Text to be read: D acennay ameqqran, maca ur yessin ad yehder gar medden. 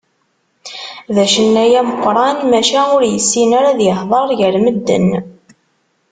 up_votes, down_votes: 0, 2